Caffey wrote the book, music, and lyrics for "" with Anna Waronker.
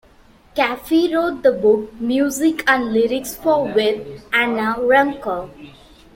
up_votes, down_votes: 0, 2